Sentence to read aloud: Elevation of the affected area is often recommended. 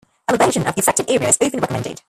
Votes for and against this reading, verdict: 0, 2, rejected